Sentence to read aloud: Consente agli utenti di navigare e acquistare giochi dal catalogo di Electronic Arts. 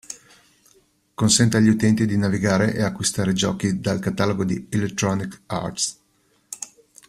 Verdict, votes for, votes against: accepted, 2, 0